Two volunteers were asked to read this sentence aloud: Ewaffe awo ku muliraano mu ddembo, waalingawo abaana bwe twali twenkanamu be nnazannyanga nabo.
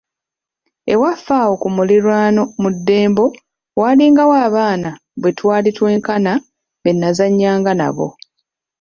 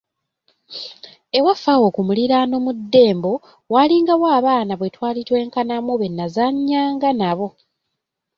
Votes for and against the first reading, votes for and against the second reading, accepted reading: 1, 2, 3, 0, second